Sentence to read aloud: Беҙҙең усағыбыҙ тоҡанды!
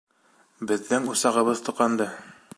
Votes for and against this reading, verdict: 2, 0, accepted